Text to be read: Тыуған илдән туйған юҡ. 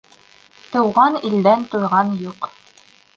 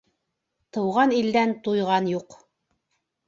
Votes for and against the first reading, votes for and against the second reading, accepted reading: 0, 2, 3, 0, second